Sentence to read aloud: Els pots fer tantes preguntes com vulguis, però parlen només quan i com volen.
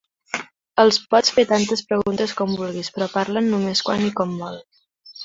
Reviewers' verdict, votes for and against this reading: rejected, 0, 2